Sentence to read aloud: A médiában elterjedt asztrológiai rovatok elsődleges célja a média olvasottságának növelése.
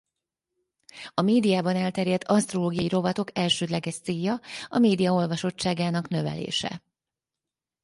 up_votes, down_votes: 4, 0